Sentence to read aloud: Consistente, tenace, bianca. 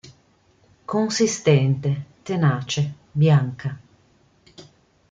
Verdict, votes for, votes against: accepted, 2, 0